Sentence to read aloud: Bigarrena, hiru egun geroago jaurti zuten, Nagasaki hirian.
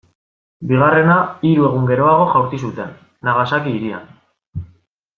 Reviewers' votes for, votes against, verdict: 2, 0, accepted